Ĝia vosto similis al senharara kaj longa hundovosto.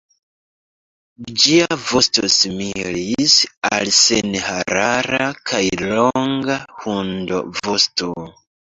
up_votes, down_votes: 2, 1